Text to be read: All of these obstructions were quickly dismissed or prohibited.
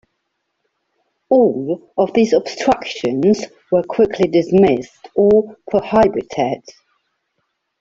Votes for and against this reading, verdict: 0, 2, rejected